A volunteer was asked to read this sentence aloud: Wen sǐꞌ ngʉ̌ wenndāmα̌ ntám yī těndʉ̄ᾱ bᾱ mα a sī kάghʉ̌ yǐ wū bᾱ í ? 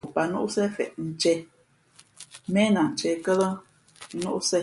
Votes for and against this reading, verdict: 0, 2, rejected